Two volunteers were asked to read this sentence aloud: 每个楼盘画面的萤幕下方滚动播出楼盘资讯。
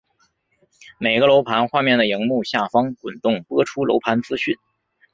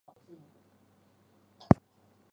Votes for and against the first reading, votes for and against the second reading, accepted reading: 3, 0, 0, 3, first